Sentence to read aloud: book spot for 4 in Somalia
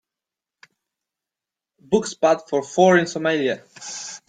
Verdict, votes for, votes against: rejected, 0, 2